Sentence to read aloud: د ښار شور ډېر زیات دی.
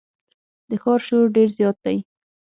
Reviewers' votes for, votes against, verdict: 6, 0, accepted